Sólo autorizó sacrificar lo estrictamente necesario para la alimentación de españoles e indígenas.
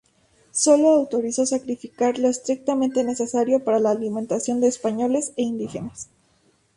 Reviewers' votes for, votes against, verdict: 2, 0, accepted